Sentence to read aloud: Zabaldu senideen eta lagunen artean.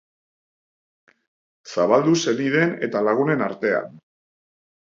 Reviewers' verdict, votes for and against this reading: accepted, 3, 0